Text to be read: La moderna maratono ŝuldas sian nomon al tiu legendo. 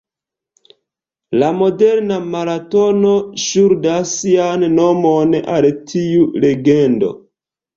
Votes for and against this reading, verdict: 2, 0, accepted